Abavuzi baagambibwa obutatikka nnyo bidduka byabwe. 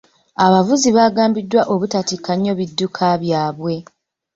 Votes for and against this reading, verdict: 2, 1, accepted